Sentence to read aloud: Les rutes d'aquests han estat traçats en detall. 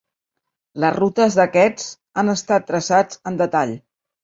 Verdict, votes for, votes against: accepted, 2, 0